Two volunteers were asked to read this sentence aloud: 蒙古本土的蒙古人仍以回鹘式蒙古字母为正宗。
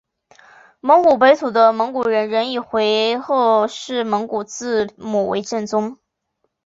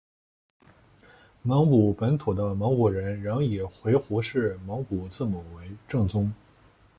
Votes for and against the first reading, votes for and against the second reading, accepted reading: 1, 2, 2, 0, second